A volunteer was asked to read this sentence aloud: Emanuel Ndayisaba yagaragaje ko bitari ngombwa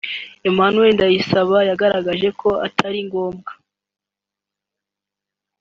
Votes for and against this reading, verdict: 1, 2, rejected